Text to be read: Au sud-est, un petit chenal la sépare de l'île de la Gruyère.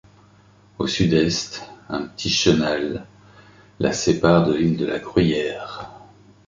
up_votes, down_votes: 2, 0